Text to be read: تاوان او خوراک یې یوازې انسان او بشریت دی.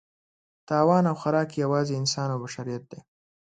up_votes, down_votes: 2, 0